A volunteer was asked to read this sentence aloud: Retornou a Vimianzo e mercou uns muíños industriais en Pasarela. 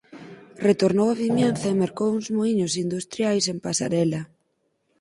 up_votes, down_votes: 4, 0